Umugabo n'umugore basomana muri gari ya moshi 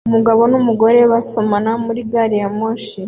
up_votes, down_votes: 2, 0